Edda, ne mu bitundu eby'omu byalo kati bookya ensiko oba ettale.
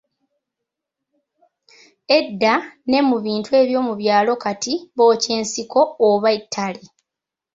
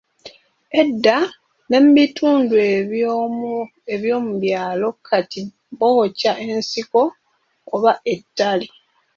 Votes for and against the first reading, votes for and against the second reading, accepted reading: 1, 2, 2, 0, second